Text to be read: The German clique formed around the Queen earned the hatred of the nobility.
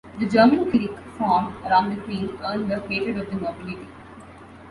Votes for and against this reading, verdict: 0, 2, rejected